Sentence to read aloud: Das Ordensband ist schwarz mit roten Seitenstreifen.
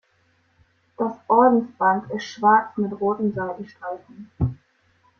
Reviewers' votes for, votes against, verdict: 2, 0, accepted